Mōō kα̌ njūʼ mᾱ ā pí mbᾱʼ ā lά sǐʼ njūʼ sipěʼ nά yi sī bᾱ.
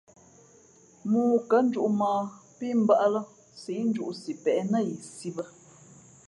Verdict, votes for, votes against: accepted, 2, 0